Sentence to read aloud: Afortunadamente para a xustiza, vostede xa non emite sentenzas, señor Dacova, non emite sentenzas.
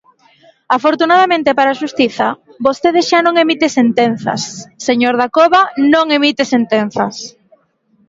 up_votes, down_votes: 2, 0